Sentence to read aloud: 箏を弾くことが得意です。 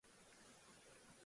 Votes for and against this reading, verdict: 1, 2, rejected